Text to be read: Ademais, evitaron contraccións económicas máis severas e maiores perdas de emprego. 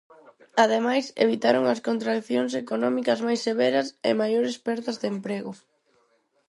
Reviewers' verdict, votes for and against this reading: rejected, 0, 4